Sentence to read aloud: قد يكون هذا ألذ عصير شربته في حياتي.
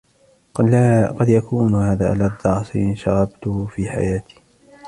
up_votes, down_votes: 2, 1